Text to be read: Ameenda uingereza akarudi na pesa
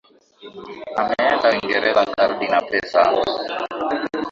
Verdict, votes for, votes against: rejected, 6, 8